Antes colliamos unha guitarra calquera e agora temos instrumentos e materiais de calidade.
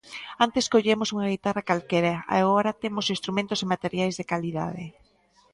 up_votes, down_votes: 0, 2